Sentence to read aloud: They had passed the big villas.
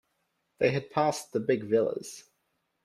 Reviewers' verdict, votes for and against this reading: accepted, 2, 0